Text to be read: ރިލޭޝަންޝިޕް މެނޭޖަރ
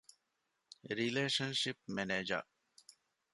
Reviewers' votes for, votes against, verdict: 2, 0, accepted